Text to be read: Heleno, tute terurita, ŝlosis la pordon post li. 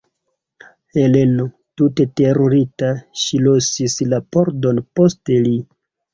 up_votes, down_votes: 0, 2